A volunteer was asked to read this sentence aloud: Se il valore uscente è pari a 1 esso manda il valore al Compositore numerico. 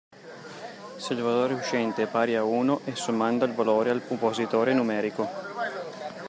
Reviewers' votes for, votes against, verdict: 0, 2, rejected